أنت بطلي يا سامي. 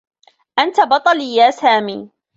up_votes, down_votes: 2, 0